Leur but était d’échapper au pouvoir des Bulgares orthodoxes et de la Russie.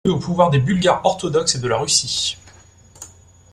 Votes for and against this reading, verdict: 0, 2, rejected